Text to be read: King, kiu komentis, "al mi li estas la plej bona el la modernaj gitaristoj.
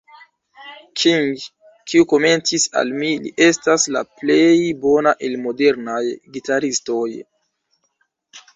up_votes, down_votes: 0, 2